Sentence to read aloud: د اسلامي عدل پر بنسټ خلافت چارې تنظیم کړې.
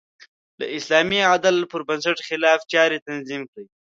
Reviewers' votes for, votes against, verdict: 0, 2, rejected